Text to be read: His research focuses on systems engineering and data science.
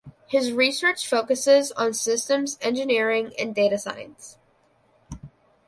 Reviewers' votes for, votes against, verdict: 2, 0, accepted